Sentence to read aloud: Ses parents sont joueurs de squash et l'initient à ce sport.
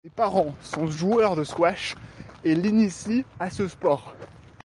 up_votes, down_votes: 0, 2